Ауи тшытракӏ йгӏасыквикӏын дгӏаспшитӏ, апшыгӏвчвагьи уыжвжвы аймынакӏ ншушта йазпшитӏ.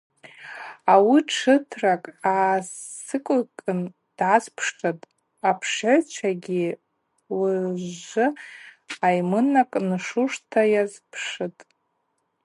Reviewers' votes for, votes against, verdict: 0, 4, rejected